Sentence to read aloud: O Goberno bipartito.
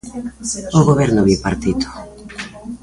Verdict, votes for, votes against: accepted, 2, 0